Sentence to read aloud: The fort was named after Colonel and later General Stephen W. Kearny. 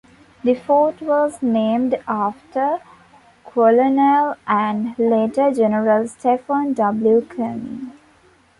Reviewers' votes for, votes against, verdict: 2, 1, accepted